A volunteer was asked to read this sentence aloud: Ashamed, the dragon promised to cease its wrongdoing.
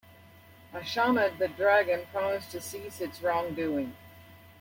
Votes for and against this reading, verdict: 0, 2, rejected